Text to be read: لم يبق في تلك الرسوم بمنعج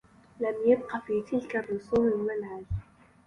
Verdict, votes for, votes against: rejected, 0, 2